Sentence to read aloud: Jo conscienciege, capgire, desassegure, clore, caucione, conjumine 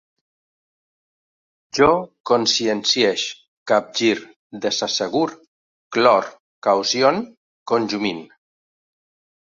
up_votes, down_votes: 1, 2